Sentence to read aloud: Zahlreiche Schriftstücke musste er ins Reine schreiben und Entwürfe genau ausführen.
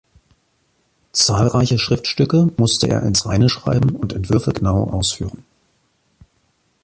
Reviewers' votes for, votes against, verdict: 2, 0, accepted